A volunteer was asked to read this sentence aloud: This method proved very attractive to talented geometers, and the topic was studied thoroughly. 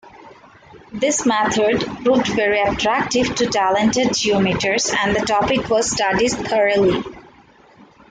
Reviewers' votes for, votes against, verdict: 2, 1, accepted